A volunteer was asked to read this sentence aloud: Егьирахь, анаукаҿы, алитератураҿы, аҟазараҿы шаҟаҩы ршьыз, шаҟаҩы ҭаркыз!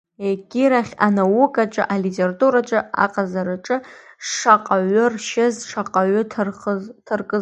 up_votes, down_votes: 0, 2